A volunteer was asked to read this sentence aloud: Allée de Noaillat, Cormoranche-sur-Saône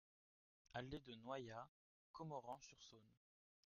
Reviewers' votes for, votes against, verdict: 1, 2, rejected